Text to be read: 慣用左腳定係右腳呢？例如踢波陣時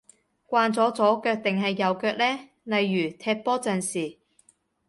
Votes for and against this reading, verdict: 1, 2, rejected